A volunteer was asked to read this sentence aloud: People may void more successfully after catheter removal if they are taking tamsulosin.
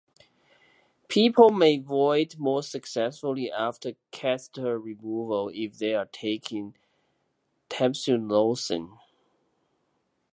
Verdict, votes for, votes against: rejected, 1, 3